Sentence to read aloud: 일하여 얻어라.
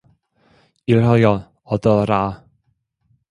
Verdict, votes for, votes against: rejected, 1, 2